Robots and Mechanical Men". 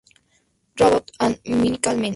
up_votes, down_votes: 0, 2